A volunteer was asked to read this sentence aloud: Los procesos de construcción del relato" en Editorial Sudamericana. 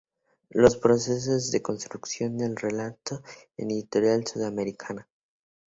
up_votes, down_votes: 2, 0